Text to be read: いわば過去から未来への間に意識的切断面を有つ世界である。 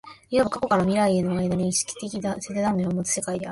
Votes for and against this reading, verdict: 1, 2, rejected